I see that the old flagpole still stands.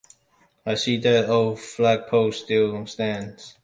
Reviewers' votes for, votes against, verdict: 2, 1, accepted